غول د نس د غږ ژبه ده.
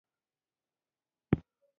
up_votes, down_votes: 1, 2